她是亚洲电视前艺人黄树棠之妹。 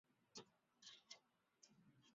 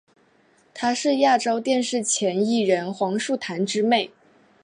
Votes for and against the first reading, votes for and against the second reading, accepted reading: 0, 4, 4, 0, second